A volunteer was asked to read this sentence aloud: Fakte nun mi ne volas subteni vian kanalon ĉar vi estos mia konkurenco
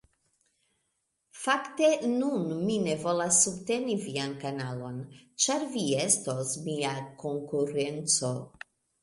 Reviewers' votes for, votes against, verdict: 2, 0, accepted